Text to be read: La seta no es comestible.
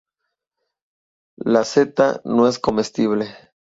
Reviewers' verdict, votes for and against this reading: accepted, 2, 0